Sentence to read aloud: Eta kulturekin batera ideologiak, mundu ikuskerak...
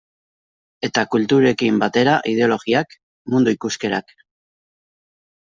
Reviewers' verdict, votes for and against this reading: accepted, 2, 0